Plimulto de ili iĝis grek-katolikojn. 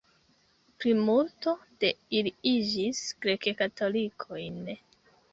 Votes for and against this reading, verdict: 0, 2, rejected